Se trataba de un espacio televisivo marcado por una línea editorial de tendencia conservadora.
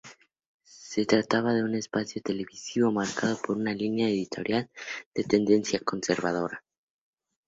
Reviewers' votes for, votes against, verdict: 2, 0, accepted